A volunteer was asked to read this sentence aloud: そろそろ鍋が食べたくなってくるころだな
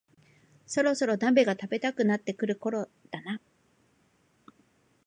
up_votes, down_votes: 2, 1